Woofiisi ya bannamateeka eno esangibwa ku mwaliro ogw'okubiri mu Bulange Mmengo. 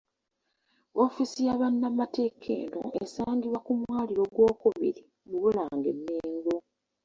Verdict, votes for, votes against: rejected, 0, 2